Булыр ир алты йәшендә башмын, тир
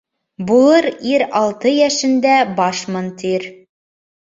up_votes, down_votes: 2, 0